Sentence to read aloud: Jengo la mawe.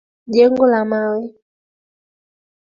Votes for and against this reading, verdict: 2, 0, accepted